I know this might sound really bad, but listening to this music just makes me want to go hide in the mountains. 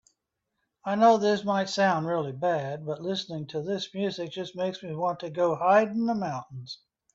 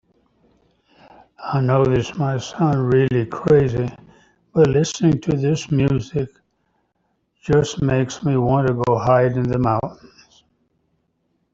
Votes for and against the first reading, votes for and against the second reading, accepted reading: 2, 0, 0, 2, first